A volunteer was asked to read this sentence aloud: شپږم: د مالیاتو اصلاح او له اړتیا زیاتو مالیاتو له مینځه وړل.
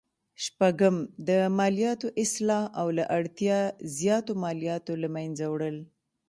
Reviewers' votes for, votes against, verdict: 0, 2, rejected